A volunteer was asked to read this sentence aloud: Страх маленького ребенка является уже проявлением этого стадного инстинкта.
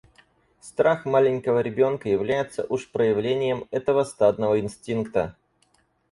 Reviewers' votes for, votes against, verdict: 0, 4, rejected